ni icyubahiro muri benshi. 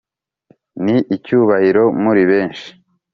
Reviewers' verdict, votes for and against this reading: accepted, 4, 0